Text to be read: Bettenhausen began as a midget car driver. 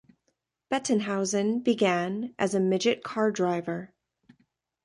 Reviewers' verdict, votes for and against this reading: accepted, 2, 1